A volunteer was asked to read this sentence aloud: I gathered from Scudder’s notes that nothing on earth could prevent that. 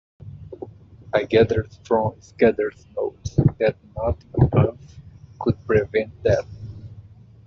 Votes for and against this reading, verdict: 0, 2, rejected